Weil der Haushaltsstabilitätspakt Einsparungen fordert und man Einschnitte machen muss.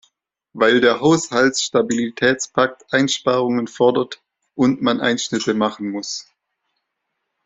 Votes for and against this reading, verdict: 2, 0, accepted